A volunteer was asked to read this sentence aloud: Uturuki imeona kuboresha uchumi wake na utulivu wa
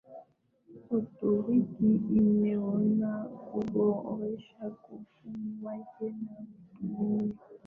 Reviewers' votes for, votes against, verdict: 4, 5, rejected